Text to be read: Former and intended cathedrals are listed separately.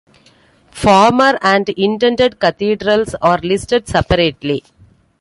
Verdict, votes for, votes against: accepted, 2, 0